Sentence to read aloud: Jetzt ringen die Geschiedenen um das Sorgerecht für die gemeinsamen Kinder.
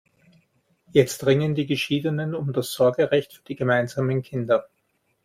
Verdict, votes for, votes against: accepted, 2, 0